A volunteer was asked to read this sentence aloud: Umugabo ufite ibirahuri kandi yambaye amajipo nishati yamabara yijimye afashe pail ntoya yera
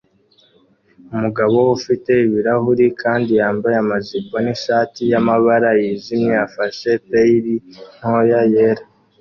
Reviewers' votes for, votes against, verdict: 2, 0, accepted